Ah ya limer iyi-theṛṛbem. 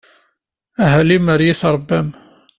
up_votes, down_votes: 1, 2